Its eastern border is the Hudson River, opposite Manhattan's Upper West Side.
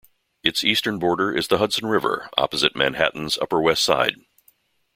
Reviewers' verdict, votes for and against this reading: accepted, 2, 0